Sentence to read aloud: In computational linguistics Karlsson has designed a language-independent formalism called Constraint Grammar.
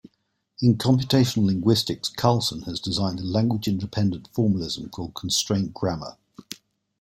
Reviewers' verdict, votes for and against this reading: accepted, 2, 0